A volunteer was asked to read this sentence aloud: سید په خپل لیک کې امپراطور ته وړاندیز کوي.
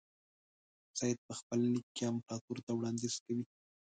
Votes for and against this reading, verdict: 1, 2, rejected